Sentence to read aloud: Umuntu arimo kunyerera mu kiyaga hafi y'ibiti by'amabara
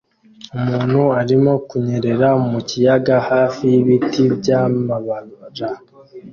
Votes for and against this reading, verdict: 1, 2, rejected